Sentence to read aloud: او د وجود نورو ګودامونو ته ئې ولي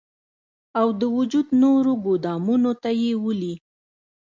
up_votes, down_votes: 0, 2